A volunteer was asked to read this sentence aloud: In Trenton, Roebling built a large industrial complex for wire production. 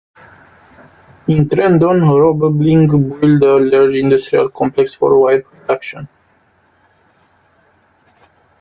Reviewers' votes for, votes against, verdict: 0, 2, rejected